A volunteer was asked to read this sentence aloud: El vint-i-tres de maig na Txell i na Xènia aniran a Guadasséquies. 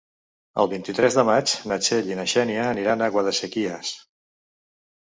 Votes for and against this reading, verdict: 0, 2, rejected